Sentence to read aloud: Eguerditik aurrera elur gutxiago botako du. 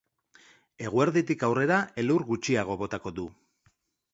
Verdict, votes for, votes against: accepted, 2, 0